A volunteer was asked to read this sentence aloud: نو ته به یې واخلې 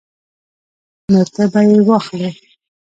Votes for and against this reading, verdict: 1, 2, rejected